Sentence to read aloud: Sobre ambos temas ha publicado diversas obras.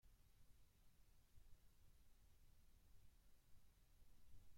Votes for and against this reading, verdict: 0, 2, rejected